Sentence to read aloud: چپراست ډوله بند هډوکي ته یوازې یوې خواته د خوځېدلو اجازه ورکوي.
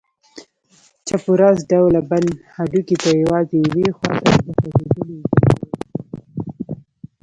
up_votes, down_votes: 1, 2